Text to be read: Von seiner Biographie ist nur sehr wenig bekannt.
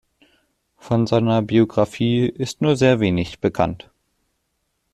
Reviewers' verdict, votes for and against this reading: accepted, 2, 1